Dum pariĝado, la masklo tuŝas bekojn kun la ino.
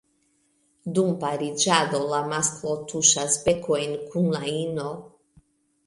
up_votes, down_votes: 2, 0